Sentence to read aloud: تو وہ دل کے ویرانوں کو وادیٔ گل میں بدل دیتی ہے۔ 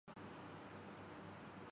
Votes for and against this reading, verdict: 0, 4, rejected